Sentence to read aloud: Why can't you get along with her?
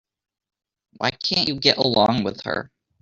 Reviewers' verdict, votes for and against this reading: rejected, 1, 2